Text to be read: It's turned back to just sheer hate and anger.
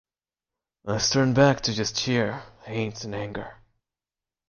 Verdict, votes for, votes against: accepted, 2, 0